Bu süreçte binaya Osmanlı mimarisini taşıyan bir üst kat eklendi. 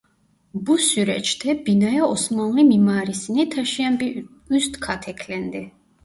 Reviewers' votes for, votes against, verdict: 0, 2, rejected